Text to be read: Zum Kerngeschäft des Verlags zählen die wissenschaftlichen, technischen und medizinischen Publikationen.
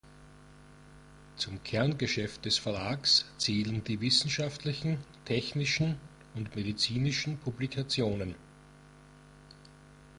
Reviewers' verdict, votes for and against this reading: accepted, 2, 0